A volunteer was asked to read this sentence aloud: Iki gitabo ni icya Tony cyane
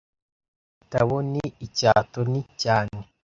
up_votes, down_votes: 1, 2